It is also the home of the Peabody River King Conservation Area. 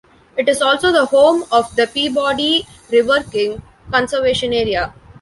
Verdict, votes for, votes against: accepted, 2, 0